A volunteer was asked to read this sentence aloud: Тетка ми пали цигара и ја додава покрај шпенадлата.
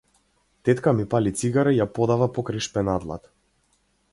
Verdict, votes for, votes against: rejected, 0, 2